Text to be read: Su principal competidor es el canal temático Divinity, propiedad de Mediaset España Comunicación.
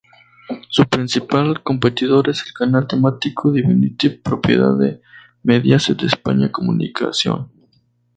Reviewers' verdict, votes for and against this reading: rejected, 0, 2